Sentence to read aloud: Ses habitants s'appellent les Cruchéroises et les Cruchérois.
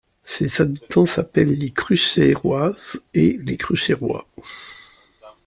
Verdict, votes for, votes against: accepted, 2, 0